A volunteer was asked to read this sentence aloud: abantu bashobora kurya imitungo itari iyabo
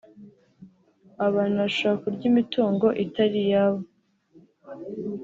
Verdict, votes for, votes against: accepted, 3, 0